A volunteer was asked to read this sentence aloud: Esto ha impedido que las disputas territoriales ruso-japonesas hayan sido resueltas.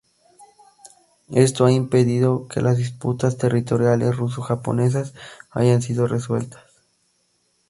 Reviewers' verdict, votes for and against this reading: accepted, 2, 0